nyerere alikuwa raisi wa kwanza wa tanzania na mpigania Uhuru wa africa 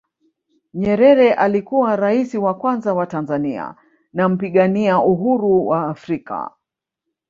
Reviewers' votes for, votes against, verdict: 3, 1, accepted